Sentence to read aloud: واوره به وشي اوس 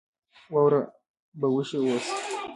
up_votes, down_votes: 0, 2